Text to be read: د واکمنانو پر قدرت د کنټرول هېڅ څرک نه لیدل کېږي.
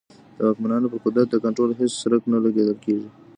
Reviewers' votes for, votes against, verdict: 1, 2, rejected